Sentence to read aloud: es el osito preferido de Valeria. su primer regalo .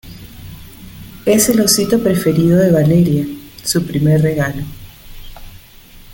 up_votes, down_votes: 2, 0